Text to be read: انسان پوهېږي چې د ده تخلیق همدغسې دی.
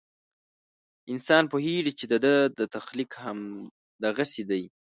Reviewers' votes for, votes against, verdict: 1, 2, rejected